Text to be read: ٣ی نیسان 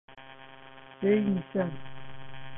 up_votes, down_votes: 0, 2